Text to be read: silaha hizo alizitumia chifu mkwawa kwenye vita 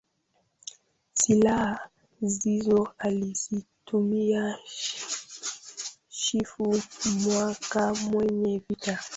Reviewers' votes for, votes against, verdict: 0, 2, rejected